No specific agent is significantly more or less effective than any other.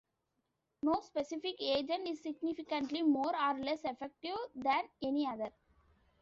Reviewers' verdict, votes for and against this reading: accepted, 2, 0